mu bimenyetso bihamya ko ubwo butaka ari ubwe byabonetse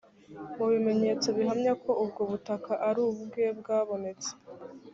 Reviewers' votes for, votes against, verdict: 1, 2, rejected